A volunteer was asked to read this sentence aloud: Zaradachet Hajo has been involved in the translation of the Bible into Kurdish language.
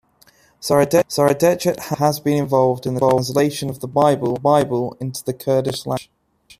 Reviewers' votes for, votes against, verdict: 0, 2, rejected